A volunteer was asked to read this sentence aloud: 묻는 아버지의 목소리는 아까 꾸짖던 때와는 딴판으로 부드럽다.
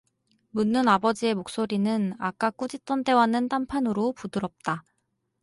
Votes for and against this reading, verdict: 4, 0, accepted